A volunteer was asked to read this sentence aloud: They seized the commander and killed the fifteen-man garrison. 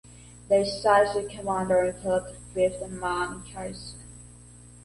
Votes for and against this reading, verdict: 1, 2, rejected